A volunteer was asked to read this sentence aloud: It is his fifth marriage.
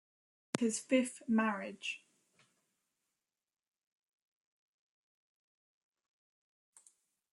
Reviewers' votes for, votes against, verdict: 1, 2, rejected